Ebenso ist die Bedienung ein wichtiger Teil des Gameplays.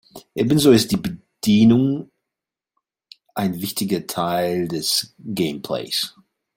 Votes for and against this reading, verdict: 2, 0, accepted